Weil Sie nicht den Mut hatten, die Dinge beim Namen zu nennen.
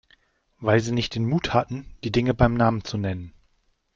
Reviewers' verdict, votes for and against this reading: accepted, 2, 0